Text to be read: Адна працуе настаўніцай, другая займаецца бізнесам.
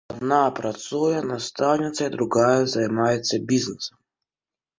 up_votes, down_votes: 2, 1